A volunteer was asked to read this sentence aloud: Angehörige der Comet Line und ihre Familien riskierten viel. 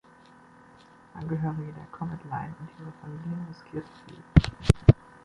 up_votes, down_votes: 2, 1